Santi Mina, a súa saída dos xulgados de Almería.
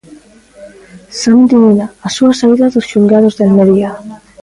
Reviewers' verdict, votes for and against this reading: accepted, 2, 0